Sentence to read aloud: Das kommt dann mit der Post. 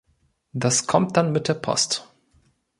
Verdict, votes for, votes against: accepted, 2, 0